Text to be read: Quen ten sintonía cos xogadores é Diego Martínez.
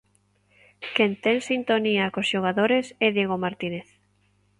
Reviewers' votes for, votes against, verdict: 2, 0, accepted